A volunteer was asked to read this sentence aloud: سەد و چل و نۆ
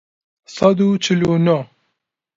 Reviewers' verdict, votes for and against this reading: accepted, 2, 0